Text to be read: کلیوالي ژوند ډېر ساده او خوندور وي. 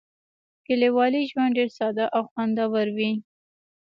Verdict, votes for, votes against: accepted, 2, 0